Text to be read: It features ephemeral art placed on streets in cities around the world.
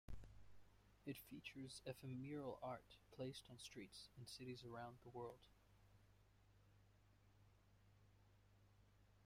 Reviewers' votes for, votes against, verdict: 1, 2, rejected